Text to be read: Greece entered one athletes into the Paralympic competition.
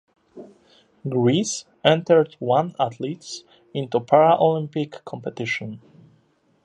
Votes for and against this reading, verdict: 0, 2, rejected